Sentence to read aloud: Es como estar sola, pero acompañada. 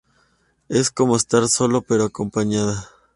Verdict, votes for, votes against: rejected, 0, 2